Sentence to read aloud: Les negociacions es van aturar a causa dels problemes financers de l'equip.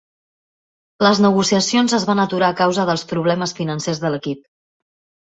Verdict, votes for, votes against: accepted, 4, 0